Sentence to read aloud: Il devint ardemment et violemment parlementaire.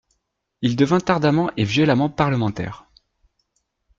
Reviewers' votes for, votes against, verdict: 2, 0, accepted